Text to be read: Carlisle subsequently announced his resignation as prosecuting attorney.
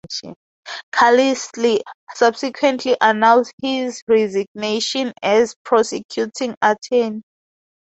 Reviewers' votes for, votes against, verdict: 2, 0, accepted